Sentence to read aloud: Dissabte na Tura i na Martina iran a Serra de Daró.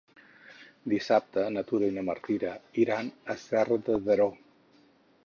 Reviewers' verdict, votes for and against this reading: rejected, 0, 4